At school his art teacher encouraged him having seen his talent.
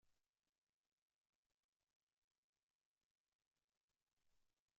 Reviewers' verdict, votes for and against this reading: rejected, 0, 2